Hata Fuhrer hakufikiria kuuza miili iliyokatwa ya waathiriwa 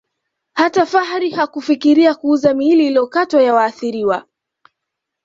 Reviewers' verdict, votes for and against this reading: accepted, 2, 0